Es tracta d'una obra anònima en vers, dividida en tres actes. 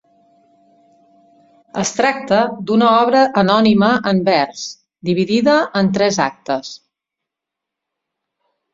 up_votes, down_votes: 3, 0